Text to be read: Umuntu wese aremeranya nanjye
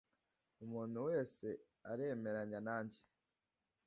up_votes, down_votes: 2, 0